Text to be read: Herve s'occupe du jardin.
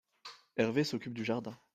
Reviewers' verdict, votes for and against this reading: accepted, 2, 0